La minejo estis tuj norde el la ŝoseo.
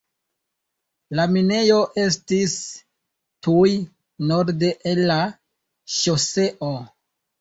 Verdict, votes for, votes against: accepted, 2, 1